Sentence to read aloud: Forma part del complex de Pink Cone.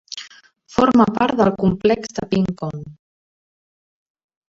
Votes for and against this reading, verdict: 2, 1, accepted